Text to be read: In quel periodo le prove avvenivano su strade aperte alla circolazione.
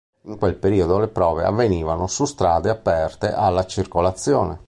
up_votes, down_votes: 3, 0